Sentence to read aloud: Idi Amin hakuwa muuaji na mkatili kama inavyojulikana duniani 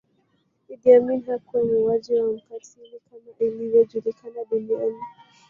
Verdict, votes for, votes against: rejected, 1, 2